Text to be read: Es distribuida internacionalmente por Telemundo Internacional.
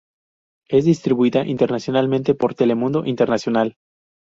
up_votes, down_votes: 0, 2